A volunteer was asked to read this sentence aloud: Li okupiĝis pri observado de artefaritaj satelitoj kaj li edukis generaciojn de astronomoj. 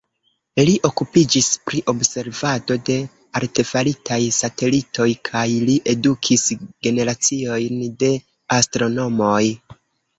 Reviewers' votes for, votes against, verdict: 2, 1, accepted